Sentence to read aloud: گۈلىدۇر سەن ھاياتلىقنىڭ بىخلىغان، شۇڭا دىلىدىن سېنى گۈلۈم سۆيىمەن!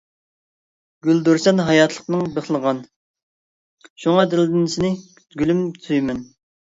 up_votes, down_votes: 0, 2